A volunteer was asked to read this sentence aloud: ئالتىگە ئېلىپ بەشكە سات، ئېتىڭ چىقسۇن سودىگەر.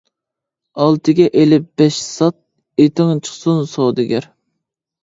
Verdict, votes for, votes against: rejected, 1, 2